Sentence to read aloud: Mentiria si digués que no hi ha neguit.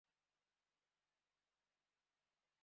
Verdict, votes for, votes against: rejected, 0, 2